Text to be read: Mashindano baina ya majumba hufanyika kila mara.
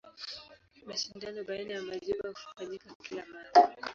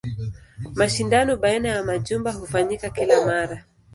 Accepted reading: second